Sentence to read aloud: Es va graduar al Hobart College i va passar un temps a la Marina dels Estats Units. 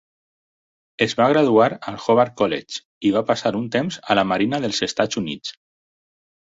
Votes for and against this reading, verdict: 4, 0, accepted